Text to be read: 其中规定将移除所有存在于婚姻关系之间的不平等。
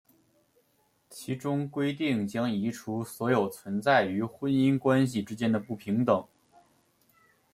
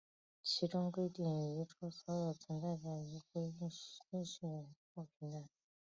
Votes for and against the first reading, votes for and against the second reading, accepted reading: 2, 0, 1, 2, first